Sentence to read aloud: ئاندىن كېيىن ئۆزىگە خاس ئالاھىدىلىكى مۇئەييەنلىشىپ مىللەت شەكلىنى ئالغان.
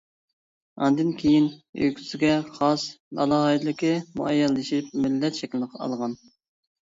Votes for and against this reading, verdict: 0, 2, rejected